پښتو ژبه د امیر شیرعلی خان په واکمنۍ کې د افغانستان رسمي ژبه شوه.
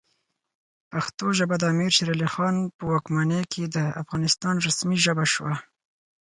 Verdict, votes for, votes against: accepted, 4, 0